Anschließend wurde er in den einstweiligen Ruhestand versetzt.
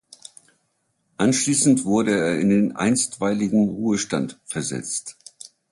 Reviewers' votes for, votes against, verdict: 2, 0, accepted